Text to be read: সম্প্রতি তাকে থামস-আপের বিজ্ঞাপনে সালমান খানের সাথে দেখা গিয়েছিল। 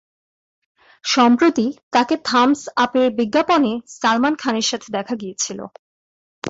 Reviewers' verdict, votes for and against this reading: accepted, 3, 0